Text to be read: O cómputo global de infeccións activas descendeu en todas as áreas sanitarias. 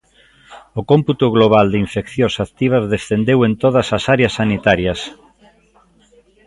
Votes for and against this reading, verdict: 2, 0, accepted